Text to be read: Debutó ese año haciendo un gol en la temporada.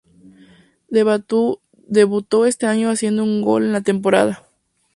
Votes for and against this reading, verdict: 0, 2, rejected